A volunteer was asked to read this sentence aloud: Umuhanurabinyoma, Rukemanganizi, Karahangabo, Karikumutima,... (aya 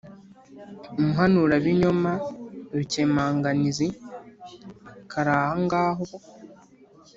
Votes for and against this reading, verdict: 1, 2, rejected